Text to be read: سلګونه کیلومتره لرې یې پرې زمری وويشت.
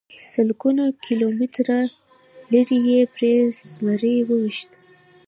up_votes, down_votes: 2, 0